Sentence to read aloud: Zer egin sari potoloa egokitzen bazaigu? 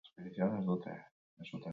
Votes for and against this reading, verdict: 2, 0, accepted